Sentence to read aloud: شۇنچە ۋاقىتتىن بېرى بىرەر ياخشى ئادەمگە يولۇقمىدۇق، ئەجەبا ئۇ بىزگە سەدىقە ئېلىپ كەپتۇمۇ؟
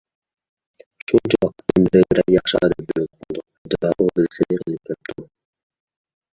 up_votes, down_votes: 0, 2